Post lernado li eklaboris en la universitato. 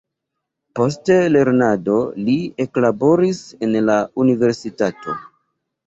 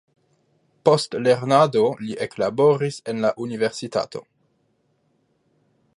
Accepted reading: second